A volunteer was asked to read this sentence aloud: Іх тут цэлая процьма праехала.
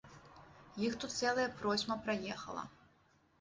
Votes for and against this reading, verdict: 2, 0, accepted